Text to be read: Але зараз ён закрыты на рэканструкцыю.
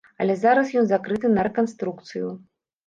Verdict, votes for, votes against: accepted, 2, 0